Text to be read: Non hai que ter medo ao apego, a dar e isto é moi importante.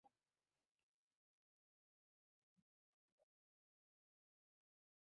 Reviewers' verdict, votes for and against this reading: rejected, 0, 2